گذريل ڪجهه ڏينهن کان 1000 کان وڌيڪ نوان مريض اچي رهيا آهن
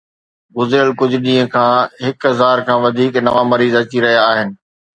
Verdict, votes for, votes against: rejected, 0, 2